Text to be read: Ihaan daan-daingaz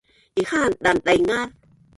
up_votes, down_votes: 1, 4